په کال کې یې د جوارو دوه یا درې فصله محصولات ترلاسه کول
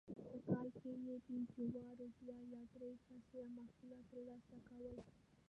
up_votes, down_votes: 1, 2